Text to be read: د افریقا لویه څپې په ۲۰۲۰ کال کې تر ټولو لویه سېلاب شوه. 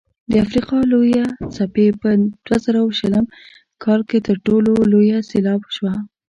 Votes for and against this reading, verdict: 0, 2, rejected